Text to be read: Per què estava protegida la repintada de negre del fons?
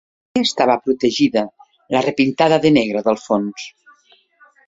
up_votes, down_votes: 0, 2